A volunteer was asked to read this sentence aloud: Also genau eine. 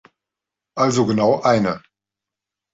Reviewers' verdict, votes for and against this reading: accepted, 2, 0